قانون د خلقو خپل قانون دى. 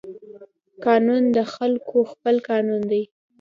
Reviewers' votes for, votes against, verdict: 2, 0, accepted